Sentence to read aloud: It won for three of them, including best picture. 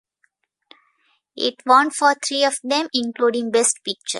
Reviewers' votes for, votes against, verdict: 0, 2, rejected